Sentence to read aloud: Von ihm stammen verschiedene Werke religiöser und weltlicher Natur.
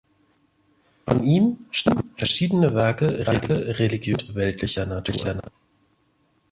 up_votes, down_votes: 0, 2